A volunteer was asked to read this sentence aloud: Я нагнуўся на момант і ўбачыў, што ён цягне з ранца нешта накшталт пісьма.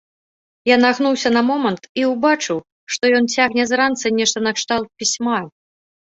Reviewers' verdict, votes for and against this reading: accepted, 2, 0